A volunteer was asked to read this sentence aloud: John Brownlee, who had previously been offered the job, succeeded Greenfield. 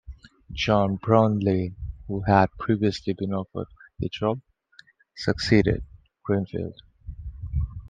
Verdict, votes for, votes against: accepted, 3, 0